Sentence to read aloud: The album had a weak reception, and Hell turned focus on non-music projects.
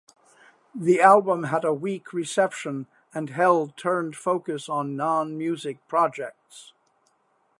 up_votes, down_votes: 2, 0